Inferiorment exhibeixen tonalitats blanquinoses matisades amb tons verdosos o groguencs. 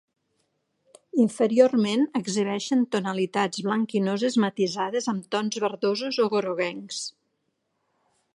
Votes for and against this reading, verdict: 3, 0, accepted